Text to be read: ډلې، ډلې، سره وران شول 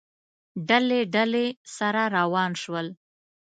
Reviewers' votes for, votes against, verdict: 1, 2, rejected